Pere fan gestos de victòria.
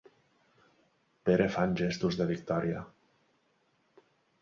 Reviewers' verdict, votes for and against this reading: accepted, 3, 0